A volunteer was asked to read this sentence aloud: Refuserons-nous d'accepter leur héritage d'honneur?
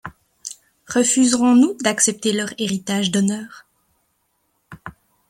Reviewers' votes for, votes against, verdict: 1, 2, rejected